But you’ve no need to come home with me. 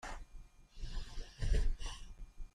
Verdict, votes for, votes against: rejected, 0, 2